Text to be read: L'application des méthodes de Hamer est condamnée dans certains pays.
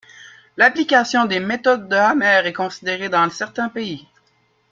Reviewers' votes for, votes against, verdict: 0, 2, rejected